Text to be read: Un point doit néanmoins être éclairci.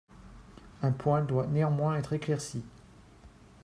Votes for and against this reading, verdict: 3, 0, accepted